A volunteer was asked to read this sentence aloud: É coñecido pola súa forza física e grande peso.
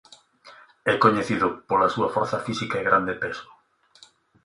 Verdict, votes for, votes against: accepted, 2, 0